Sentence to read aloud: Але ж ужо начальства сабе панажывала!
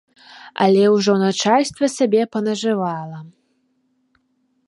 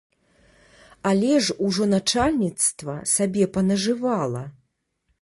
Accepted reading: first